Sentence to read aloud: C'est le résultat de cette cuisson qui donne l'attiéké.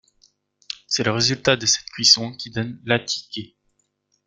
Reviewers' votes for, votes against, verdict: 1, 2, rejected